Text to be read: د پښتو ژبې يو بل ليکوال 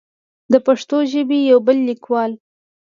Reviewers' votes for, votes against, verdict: 2, 0, accepted